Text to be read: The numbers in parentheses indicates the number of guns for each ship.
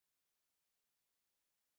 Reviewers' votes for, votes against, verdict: 0, 2, rejected